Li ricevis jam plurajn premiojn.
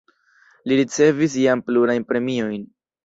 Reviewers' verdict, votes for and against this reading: accepted, 2, 0